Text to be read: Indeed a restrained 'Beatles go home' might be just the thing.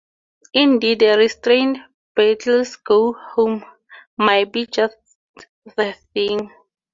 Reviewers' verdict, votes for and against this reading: accepted, 4, 0